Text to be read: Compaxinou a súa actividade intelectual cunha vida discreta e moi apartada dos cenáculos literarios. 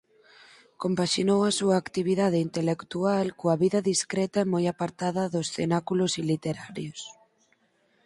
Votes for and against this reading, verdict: 2, 4, rejected